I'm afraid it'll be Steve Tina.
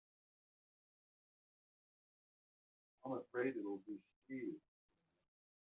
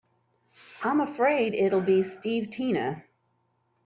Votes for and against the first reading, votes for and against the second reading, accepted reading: 0, 2, 3, 0, second